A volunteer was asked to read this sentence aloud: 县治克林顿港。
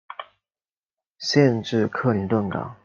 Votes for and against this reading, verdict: 2, 0, accepted